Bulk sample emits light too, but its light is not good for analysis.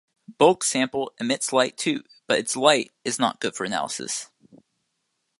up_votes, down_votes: 2, 0